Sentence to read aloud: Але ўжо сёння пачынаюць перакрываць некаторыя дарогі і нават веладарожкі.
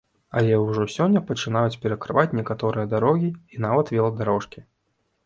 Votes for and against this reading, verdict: 2, 0, accepted